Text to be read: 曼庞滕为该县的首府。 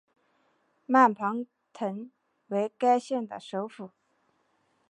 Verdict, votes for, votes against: accepted, 9, 0